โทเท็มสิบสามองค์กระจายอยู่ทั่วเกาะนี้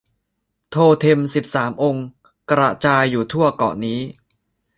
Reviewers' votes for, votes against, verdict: 2, 1, accepted